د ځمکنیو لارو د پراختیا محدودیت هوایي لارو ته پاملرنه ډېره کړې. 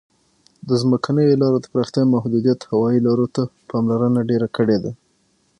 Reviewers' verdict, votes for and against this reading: rejected, 0, 6